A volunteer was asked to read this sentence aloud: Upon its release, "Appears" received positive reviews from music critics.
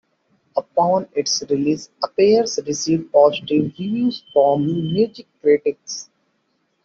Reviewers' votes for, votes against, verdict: 2, 0, accepted